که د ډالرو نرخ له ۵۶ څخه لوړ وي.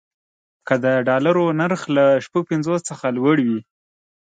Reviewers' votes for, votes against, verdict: 0, 2, rejected